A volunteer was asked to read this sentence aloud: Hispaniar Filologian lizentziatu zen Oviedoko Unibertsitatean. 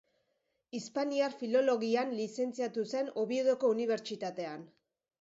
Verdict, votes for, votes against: accepted, 3, 0